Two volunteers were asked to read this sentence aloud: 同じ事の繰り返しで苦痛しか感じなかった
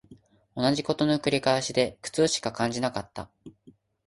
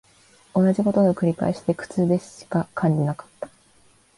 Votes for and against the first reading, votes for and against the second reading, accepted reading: 4, 0, 0, 2, first